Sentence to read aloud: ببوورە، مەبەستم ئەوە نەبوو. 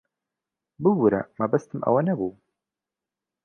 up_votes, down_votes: 2, 0